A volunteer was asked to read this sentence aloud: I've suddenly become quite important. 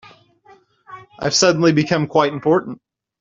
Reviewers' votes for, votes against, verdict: 0, 2, rejected